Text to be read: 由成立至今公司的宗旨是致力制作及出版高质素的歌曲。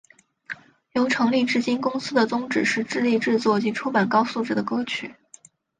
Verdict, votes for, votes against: rejected, 1, 3